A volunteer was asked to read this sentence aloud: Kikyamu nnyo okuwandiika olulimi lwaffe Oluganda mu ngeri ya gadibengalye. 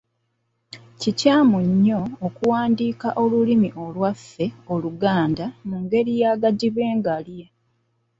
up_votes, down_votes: 1, 2